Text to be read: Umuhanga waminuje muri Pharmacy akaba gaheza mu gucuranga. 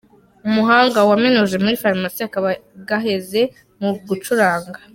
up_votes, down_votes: 1, 2